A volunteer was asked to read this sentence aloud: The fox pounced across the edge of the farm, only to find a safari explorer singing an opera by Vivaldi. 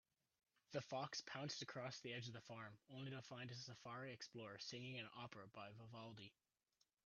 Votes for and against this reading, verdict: 2, 0, accepted